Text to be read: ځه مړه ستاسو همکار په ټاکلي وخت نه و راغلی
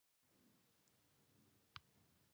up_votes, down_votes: 1, 2